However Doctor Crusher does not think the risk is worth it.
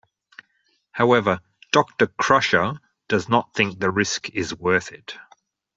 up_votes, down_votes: 2, 0